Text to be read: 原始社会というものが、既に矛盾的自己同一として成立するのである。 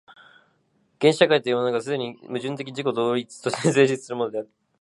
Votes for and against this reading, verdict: 2, 3, rejected